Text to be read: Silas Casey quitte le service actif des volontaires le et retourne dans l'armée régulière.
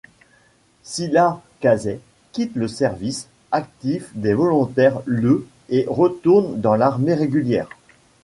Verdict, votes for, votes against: rejected, 1, 2